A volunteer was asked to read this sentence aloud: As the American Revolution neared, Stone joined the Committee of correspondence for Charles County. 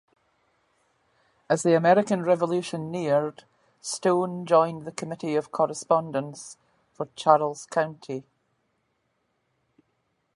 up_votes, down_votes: 1, 2